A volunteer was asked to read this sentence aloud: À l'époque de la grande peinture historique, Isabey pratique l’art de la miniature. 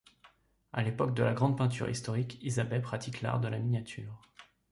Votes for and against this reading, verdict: 2, 0, accepted